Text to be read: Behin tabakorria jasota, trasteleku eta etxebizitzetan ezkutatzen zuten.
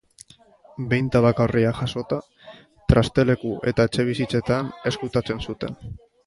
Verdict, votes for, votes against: rejected, 1, 2